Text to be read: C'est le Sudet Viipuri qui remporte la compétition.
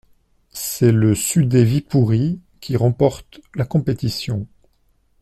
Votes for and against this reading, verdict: 2, 1, accepted